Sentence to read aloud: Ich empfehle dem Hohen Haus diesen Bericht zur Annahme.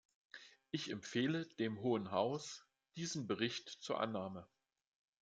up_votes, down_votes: 2, 0